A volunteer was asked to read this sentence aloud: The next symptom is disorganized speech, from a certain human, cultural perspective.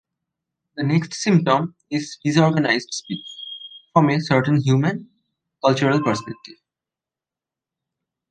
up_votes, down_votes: 2, 0